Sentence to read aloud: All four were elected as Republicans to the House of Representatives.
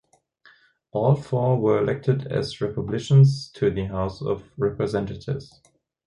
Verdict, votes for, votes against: rejected, 0, 2